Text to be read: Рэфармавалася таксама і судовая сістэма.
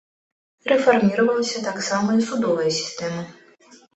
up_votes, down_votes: 1, 2